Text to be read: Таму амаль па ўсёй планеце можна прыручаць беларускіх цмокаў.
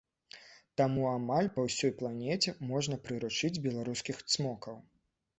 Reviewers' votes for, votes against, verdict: 1, 2, rejected